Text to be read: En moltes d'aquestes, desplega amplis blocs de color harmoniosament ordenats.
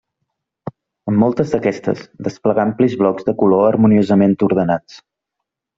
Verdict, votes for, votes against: rejected, 1, 2